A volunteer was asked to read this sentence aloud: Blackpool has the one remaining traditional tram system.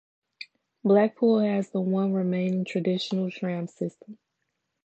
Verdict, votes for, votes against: rejected, 0, 2